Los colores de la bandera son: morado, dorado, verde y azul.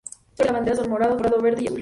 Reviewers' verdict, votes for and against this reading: rejected, 2, 6